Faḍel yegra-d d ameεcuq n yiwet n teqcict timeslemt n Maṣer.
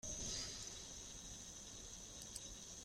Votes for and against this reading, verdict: 0, 3, rejected